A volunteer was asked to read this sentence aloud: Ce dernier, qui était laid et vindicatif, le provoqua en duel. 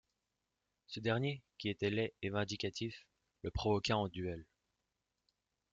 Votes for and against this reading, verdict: 2, 0, accepted